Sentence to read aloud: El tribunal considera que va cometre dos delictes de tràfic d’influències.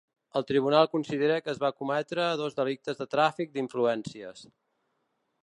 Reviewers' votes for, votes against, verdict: 1, 2, rejected